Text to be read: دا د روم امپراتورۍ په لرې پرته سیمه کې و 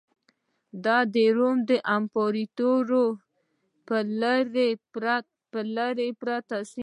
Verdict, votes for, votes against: rejected, 0, 2